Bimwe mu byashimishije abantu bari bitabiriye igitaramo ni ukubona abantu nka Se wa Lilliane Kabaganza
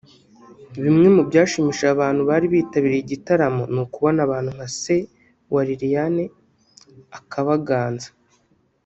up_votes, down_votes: 1, 2